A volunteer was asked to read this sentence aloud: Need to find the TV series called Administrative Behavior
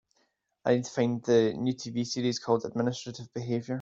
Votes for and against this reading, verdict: 0, 2, rejected